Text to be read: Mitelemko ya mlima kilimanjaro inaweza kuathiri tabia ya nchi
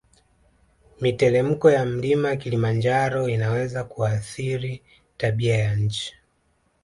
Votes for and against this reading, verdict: 2, 0, accepted